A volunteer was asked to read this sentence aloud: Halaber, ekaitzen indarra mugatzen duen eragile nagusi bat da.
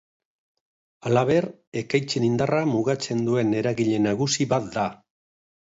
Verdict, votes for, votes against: accepted, 3, 0